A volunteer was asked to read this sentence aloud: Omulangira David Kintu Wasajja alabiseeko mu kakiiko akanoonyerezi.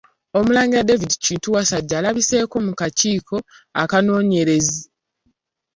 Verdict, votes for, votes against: accepted, 2, 1